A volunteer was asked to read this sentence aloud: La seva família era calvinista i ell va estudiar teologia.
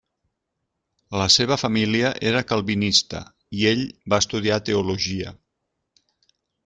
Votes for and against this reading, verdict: 3, 0, accepted